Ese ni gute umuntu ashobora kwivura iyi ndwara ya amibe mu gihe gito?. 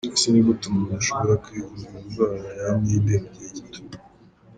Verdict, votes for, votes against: accepted, 2, 0